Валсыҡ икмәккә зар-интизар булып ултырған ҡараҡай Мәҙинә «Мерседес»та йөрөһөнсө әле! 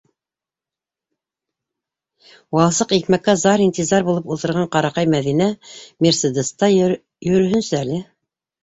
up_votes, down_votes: 0, 2